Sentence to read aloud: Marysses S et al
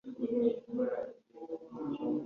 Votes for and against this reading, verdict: 0, 2, rejected